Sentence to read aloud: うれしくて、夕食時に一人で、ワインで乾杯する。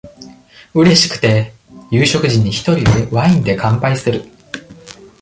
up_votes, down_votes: 1, 2